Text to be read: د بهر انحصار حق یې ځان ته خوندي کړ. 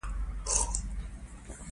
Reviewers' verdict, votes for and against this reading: rejected, 1, 2